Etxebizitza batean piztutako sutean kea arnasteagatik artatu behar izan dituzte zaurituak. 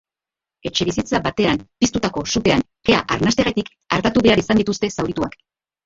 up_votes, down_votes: 0, 3